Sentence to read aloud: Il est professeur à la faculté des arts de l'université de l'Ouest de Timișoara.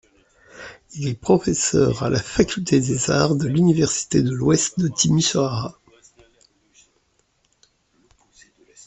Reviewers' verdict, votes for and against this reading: accepted, 2, 0